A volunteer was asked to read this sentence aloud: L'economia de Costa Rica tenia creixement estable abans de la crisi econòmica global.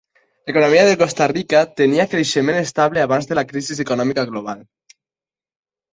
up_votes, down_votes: 0, 2